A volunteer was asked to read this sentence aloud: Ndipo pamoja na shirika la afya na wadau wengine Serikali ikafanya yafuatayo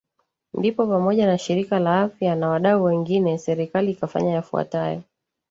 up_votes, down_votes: 2, 1